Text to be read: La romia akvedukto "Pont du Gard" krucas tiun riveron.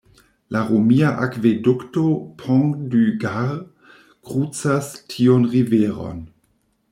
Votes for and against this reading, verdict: 1, 2, rejected